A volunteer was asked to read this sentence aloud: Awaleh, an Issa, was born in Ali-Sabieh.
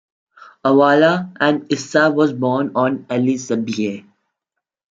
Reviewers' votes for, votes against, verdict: 1, 2, rejected